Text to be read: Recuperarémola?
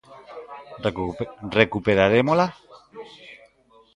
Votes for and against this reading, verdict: 0, 2, rejected